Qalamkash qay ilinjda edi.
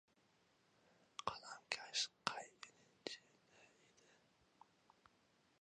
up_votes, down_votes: 0, 2